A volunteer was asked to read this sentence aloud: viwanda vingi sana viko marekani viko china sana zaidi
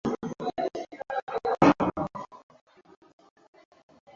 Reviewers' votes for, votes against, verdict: 0, 2, rejected